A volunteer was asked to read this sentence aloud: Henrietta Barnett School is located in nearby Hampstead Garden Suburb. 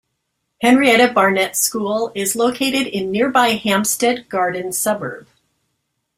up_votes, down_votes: 2, 0